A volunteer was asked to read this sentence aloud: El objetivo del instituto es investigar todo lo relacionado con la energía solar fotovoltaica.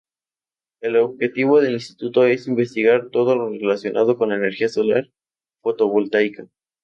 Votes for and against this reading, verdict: 2, 0, accepted